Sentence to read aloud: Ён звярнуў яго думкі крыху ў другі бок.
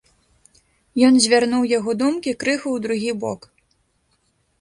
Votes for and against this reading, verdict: 1, 2, rejected